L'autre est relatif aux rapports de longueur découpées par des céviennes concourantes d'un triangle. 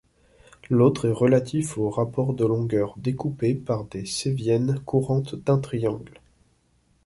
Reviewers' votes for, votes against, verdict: 0, 2, rejected